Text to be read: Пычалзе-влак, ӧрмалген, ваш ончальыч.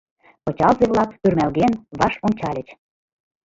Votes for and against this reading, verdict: 2, 0, accepted